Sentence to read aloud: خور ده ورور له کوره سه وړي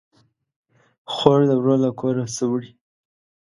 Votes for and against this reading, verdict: 2, 0, accepted